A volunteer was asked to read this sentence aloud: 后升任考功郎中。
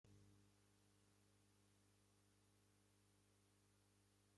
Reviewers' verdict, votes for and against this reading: rejected, 0, 2